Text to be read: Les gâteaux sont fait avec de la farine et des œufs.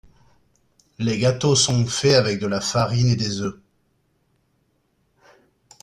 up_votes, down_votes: 2, 0